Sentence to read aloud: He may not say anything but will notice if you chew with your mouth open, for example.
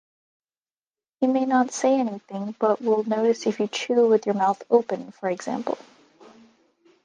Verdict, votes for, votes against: accepted, 2, 0